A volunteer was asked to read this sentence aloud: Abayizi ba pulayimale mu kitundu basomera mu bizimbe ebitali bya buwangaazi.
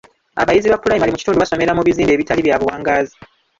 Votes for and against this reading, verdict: 0, 2, rejected